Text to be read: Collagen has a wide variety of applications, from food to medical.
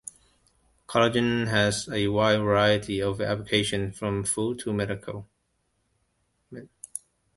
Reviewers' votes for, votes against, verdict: 2, 1, accepted